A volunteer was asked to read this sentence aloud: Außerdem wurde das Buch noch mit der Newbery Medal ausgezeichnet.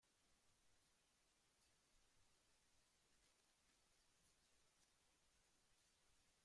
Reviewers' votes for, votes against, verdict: 0, 2, rejected